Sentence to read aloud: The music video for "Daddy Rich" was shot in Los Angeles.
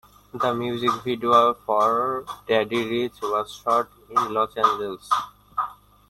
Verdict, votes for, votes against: rejected, 1, 2